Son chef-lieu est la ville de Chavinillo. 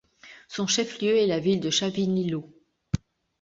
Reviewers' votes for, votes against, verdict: 3, 1, accepted